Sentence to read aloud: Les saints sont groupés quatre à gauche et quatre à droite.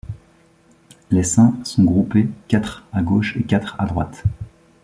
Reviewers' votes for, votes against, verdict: 2, 0, accepted